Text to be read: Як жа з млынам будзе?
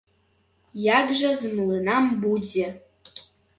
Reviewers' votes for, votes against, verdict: 0, 2, rejected